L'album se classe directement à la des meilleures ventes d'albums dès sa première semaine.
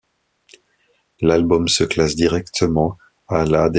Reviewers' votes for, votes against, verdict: 0, 2, rejected